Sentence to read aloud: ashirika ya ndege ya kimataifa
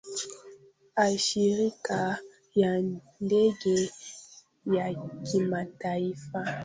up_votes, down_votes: 0, 2